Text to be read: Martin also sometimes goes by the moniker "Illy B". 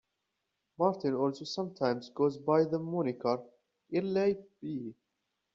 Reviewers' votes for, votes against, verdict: 2, 1, accepted